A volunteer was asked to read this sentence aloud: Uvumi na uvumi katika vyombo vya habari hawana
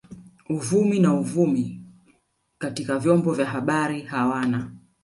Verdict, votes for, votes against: rejected, 1, 2